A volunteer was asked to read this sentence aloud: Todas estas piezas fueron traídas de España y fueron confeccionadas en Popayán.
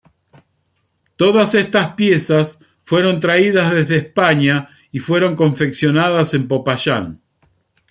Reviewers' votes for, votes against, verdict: 1, 2, rejected